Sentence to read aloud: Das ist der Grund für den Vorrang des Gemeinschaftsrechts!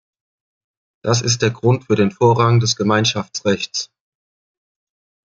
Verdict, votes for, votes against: accepted, 2, 0